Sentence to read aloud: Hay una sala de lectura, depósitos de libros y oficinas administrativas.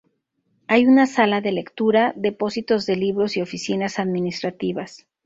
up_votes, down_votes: 2, 0